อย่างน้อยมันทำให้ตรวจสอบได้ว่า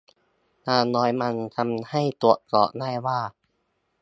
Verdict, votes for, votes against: accepted, 2, 1